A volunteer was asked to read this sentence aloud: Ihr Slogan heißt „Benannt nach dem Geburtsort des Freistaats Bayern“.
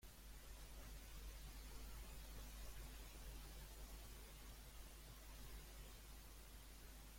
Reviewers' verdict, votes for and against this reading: rejected, 0, 2